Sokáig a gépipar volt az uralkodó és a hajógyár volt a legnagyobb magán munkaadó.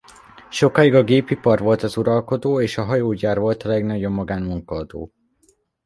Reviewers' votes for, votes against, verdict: 2, 1, accepted